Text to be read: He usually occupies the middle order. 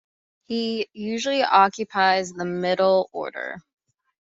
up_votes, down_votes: 2, 0